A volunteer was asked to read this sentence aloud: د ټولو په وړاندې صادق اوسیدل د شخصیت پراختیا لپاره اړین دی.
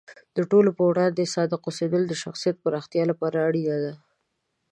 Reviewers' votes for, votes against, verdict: 0, 2, rejected